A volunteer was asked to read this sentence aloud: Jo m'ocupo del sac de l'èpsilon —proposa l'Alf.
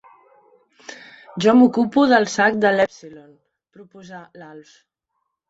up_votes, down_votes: 0, 2